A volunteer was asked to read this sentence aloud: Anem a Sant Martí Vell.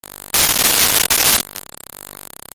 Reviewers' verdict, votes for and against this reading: rejected, 0, 2